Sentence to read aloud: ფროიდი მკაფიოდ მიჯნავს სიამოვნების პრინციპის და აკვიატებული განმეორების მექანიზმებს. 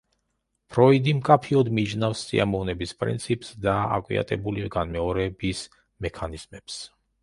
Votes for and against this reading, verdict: 0, 2, rejected